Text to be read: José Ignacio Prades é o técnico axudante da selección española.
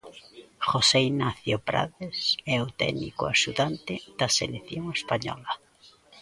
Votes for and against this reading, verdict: 1, 2, rejected